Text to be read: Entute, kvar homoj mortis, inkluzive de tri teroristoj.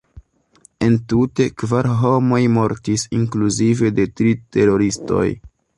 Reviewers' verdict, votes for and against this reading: accepted, 2, 0